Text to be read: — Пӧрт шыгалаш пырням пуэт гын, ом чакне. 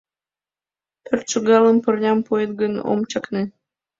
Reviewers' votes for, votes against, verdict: 2, 0, accepted